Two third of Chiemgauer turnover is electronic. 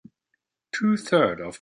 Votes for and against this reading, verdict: 0, 2, rejected